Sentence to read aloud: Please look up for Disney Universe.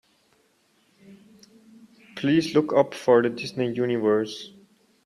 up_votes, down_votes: 1, 2